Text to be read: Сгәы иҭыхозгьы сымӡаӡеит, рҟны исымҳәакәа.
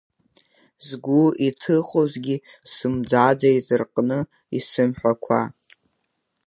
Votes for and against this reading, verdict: 0, 2, rejected